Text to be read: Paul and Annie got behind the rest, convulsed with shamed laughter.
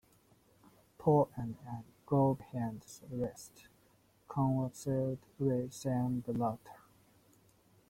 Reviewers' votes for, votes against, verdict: 0, 2, rejected